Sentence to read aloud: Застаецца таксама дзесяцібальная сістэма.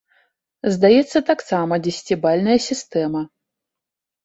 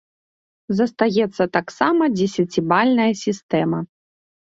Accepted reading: second